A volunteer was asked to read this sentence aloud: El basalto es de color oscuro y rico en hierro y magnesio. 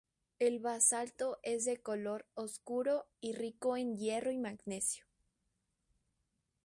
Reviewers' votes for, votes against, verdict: 2, 0, accepted